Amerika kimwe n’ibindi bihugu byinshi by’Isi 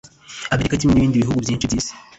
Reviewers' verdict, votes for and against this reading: rejected, 1, 2